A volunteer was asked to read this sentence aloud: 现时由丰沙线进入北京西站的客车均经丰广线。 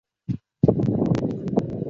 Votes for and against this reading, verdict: 0, 2, rejected